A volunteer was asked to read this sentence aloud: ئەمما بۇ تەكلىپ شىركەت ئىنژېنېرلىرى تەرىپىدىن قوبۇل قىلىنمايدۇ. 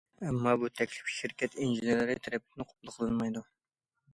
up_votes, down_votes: 2, 1